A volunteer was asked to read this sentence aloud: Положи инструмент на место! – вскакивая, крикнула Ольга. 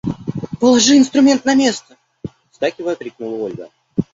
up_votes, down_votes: 2, 1